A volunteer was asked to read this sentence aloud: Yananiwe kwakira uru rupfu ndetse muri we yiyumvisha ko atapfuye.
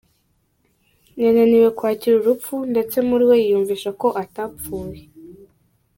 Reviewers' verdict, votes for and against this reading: rejected, 1, 2